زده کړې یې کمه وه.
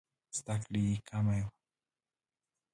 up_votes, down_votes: 2, 1